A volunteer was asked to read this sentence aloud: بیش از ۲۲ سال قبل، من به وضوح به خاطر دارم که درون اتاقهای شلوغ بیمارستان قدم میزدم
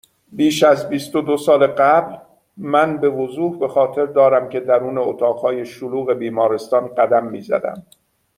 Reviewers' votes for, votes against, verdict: 0, 2, rejected